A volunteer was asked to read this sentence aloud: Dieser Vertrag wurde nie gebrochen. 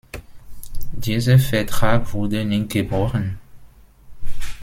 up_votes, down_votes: 2, 0